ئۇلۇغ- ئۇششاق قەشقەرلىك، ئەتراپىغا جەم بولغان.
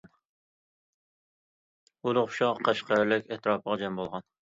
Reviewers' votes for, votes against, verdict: 1, 2, rejected